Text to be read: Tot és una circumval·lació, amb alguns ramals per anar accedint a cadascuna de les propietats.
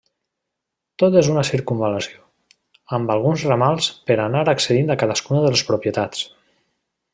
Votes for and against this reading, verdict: 1, 2, rejected